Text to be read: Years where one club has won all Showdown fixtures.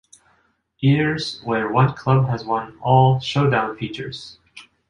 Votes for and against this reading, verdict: 0, 2, rejected